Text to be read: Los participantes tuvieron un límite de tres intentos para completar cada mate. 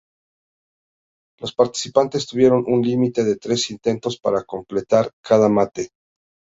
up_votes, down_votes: 2, 0